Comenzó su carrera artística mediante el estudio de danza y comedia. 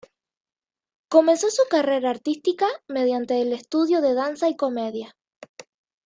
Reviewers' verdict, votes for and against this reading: accepted, 2, 0